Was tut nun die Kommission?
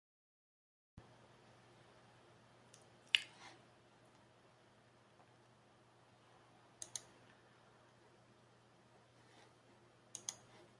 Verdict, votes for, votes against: rejected, 0, 2